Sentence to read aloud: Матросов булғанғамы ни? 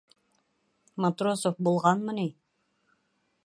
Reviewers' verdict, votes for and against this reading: rejected, 1, 2